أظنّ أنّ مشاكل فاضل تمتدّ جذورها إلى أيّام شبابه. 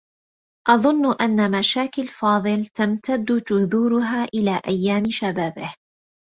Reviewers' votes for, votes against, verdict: 2, 0, accepted